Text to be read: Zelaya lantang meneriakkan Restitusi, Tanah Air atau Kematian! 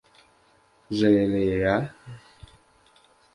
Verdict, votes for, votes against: rejected, 0, 2